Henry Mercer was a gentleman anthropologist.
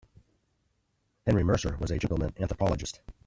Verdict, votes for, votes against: rejected, 2, 3